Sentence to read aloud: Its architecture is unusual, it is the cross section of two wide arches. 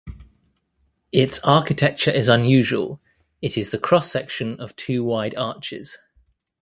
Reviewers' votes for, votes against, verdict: 2, 0, accepted